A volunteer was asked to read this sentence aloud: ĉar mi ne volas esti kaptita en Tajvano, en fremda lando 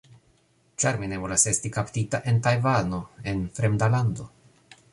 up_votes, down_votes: 1, 2